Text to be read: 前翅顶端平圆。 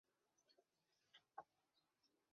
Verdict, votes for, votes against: rejected, 5, 8